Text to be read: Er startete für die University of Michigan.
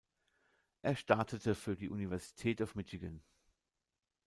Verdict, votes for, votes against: rejected, 0, 2